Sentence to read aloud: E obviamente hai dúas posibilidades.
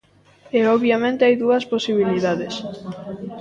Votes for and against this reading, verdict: 2, 1, accepted